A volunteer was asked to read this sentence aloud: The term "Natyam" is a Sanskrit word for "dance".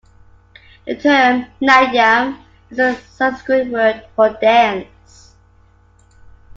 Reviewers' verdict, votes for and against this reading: accepted, 2, 0